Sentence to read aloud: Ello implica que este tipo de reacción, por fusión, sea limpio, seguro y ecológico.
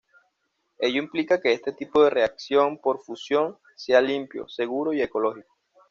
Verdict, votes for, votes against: accepted, 2, 0